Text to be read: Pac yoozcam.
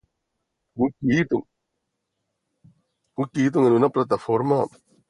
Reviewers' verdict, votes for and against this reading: rejected, 0, 2